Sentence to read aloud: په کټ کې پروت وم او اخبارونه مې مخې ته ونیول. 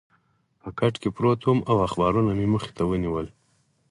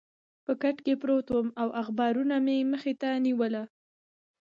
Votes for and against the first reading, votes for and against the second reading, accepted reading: 4, 2, 1, 2, first